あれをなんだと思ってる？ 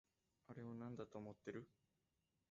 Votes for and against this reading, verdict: 0, 2, rejected